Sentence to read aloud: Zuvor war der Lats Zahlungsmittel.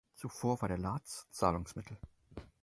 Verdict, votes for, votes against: accepted, 4, 0